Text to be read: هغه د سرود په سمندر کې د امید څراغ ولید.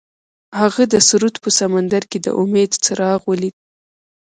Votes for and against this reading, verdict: 1, 2, rejected